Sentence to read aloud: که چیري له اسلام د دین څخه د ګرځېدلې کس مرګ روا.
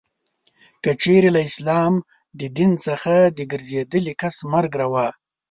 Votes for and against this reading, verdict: 2, 0, accepted